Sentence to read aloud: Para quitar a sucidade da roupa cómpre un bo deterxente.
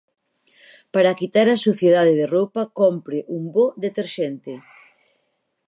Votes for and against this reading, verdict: 0, 4, rejected